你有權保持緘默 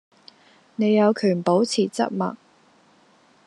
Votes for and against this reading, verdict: 1, 2, rejected